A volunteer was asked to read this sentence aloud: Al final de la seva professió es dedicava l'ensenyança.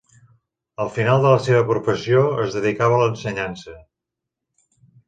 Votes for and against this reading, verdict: 2, 0, accepted